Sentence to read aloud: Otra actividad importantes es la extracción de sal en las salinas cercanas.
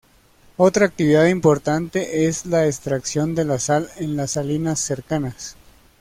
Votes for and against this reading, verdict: 0, 2, rejected